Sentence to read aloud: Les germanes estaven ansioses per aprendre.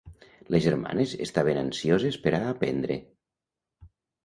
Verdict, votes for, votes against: rejected, 0, 2